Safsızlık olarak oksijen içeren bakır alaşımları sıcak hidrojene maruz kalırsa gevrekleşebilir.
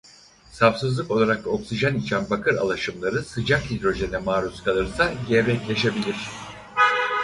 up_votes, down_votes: 2, 4